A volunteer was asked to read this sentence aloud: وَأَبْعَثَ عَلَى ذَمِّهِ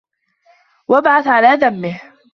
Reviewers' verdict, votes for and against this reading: accepted, 2, 1